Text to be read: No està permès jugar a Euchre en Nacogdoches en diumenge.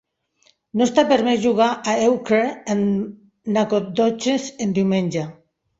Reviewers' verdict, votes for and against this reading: accepted, 2, 0